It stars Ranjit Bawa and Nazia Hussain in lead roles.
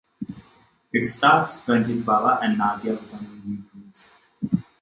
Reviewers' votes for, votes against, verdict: 0, 2, rejected